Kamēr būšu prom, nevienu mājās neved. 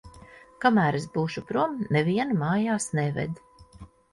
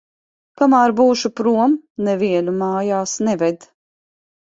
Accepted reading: second